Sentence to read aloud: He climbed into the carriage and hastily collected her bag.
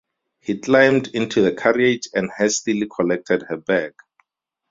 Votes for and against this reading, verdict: 2, 2, rejected